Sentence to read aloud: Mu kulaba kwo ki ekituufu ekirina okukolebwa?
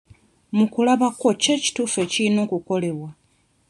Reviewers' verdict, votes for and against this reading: rejected, 1, 2